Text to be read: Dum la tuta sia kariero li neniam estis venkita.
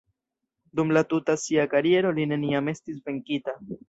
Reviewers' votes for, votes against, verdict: 1, 2, rejected